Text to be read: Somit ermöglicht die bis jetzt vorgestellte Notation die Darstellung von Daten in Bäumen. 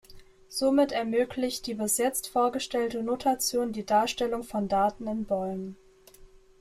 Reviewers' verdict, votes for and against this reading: accepted, 2, 0